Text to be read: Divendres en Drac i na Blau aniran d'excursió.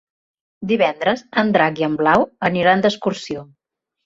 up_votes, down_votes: 0, 3